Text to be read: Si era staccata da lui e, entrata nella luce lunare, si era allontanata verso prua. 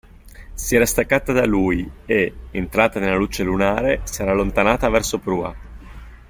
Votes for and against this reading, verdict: 2, 0, accepted